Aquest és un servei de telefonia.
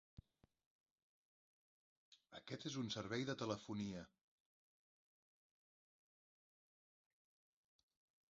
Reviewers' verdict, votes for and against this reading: rejected, 1, 2